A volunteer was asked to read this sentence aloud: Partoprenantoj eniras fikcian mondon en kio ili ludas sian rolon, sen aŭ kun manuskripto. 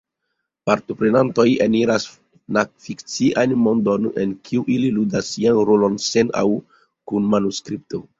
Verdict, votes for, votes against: rejected, 0, 3